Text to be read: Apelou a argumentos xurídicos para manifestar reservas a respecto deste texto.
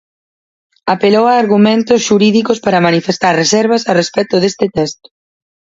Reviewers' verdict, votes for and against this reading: accepted, 4, 0